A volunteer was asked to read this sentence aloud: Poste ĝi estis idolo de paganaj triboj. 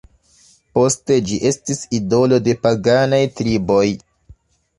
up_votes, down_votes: 0, 2